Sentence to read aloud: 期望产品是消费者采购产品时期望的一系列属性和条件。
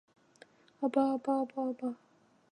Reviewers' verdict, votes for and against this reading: rejected, 0, 3